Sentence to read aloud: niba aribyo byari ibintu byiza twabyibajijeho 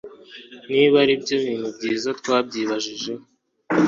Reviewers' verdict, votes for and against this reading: accepted, 2, 1